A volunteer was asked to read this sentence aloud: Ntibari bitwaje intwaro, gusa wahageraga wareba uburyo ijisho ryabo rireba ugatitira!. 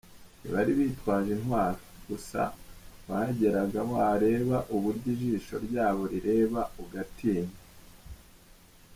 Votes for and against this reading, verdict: 0, 2, rejected